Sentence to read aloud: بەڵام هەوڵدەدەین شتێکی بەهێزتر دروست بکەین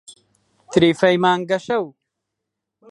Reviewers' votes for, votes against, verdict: 0, 2, rejected